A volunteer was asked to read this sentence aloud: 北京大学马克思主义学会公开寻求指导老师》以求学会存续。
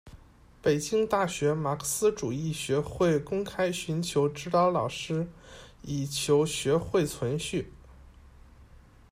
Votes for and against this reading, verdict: 2, 0, accepted